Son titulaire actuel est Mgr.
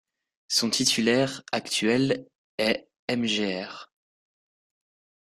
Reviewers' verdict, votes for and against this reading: rejected, 1, 2